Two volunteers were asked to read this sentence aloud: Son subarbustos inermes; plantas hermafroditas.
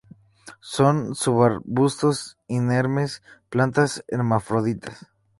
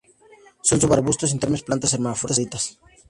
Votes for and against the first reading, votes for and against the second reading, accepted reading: 4, 0, 0, 2, first